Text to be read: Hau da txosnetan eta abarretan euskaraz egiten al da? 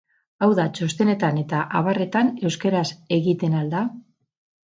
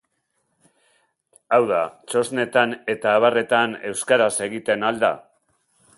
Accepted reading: second